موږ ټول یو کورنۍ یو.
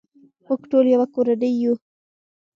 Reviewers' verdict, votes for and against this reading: accepted, 2, 0